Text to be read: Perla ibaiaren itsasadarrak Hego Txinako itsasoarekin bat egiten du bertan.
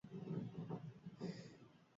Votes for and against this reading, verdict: 0, 4, rejected